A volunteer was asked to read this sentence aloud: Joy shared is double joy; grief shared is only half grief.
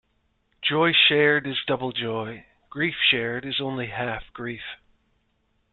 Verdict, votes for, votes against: accepted, 2, 0